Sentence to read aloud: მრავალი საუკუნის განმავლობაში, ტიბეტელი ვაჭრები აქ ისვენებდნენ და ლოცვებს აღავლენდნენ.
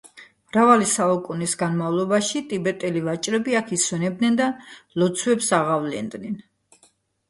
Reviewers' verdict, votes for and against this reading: accepted, 2, 0